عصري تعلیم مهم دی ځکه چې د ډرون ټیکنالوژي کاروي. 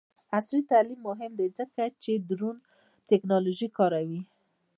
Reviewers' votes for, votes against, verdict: 1, 2, rejected